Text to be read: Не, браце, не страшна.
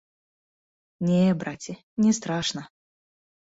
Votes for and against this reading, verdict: 2, 0, accepted